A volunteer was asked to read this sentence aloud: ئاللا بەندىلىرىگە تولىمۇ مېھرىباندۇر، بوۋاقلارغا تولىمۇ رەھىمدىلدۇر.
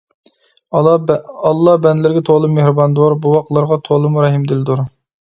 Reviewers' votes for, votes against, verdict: 1, 2, rejected